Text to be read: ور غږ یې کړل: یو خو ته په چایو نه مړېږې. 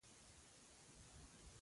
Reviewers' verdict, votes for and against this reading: rejected, 0, 2